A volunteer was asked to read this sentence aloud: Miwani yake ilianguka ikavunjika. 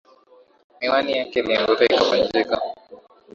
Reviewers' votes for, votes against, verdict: 5, 3, accepted